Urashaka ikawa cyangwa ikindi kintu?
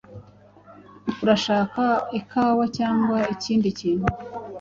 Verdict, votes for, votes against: accepted, 2, 0